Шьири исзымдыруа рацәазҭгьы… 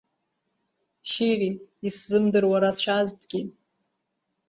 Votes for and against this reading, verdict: 2, 1, accepted